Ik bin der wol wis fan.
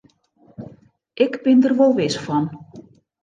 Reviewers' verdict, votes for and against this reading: accepted, 2, 0